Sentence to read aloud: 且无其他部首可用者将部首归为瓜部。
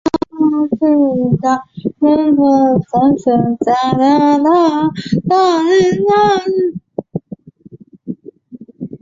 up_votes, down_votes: 0, 4